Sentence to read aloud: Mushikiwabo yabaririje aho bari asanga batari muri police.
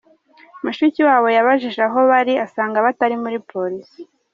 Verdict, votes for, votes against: rejected, 1, 2